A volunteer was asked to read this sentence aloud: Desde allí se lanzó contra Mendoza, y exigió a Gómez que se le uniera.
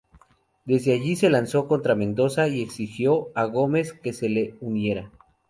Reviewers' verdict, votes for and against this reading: accepted, 2, 0